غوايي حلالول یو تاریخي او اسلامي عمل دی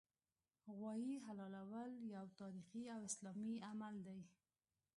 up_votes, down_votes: 0, 2